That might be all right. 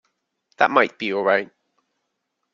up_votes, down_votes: 2, 1